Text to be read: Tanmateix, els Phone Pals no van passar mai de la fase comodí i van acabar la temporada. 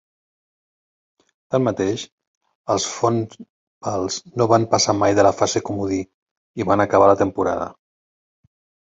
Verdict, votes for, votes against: rejected, 0, 2